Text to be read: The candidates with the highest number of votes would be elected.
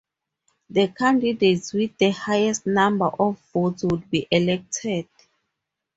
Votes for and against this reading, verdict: 2, 2, rejected